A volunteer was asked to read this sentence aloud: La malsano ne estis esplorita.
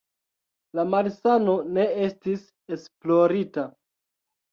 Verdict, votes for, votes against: rejected, 1, 2